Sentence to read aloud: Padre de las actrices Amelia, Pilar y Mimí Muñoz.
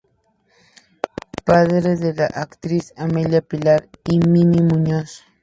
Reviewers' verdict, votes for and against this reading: rejected, 2, 2